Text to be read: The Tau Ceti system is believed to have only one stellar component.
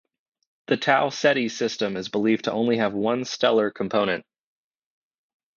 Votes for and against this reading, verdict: 0, 2, rejected